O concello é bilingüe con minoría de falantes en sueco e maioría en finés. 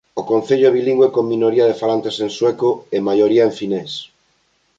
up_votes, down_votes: 2, 0